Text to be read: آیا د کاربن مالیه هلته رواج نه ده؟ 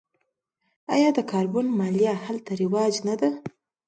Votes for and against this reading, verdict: 2, 0, accepted